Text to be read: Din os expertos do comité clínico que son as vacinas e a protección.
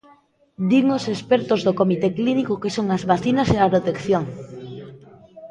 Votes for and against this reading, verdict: 2, 1, accepted